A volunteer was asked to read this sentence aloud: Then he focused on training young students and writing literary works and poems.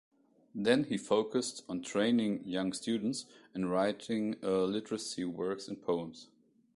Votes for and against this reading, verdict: 0, 2, rejected